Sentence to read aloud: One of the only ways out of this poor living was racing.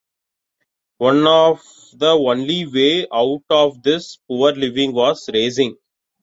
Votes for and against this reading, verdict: 1, 2, rejected